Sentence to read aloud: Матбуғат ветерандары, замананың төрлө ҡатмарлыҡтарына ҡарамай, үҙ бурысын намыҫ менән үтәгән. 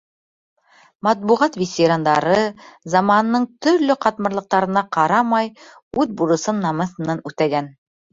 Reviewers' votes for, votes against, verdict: 0, 2, rejected